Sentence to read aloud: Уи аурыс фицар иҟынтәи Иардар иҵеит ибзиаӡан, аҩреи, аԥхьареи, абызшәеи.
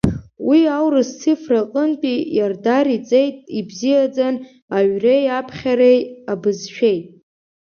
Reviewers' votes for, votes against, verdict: 2, 3, rejected